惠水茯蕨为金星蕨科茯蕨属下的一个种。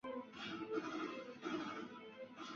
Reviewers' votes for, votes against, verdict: 0, 2, rejected